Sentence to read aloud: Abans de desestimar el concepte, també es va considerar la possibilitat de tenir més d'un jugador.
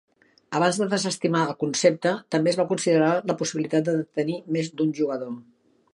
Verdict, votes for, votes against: accepted, 4, 2